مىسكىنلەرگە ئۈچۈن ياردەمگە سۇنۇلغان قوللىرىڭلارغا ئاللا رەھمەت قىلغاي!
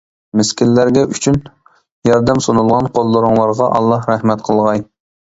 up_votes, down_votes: 0, 2